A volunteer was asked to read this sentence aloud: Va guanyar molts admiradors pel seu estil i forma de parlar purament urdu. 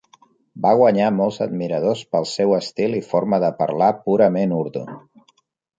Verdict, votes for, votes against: accepted, 3, 0